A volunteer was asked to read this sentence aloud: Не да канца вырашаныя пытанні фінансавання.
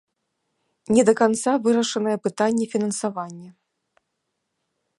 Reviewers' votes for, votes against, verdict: 4, 0, accepted